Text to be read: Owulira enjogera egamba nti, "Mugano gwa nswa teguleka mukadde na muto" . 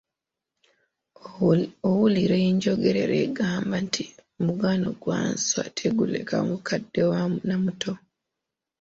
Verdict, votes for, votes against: rejected, 1, 2